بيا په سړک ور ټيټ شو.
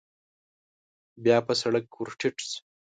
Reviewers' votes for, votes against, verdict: 2, 0, accepted